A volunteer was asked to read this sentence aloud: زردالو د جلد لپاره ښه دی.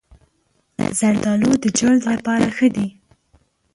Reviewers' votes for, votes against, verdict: 1, 2, rejected